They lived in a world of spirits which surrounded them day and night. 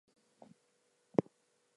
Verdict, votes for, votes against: rejected, 0, 4